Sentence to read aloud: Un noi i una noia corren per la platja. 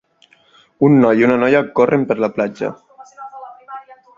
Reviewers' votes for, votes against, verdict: 3, 0, accepted